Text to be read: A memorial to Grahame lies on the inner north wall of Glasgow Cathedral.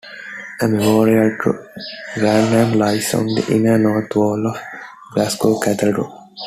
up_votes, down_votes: 1, 2